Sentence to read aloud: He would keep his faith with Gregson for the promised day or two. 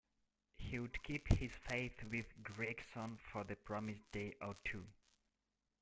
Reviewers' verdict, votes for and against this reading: rejected, 0, 2